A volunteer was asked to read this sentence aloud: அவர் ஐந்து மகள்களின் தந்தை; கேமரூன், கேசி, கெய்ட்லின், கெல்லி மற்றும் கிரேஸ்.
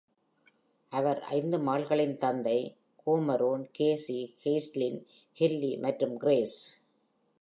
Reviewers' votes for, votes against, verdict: 1, 2, rejected